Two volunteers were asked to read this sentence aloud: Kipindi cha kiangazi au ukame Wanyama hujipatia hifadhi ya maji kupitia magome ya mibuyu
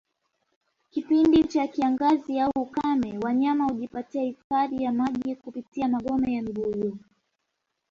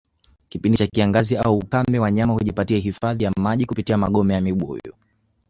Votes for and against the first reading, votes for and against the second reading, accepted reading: 2, 1, 1, 2, first